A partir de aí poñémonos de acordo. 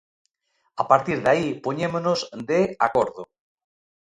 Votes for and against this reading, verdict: 2, 0, accepted